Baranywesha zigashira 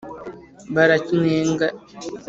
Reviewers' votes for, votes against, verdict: 1, 2, rejected